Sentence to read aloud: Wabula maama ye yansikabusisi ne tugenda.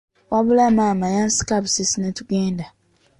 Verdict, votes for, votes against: accepted, 2, 0